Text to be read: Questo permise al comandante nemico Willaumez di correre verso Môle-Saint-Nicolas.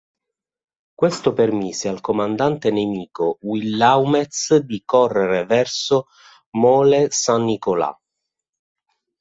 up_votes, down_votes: 1, 2